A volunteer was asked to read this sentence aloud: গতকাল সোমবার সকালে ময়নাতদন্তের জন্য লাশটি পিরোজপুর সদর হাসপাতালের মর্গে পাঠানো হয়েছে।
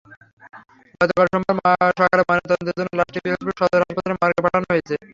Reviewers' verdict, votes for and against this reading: rejected, 0, 3